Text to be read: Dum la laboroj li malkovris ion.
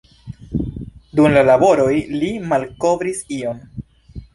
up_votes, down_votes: 2, 1